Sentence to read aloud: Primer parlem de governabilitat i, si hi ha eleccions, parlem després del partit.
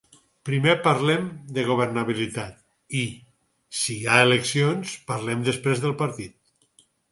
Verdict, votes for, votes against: accepted, 4, 0